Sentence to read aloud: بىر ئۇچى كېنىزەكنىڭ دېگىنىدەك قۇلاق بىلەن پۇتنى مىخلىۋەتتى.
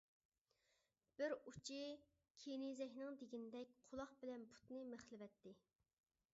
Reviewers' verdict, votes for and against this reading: rejected, 1, 2